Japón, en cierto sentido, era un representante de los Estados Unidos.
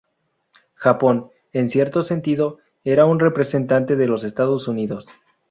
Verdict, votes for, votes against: accepted, 4, 0